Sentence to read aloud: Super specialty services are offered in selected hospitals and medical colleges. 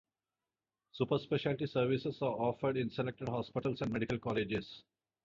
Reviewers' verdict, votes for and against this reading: rejected, 0, 2